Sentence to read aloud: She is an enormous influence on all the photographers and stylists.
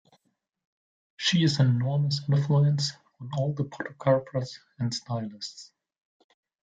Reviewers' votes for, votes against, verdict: 0, 2, rejected